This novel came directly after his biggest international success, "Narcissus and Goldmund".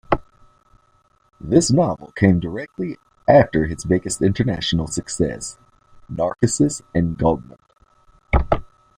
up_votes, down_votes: 2, 0